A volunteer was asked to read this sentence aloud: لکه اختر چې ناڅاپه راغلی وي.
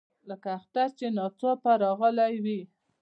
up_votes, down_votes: 2, 0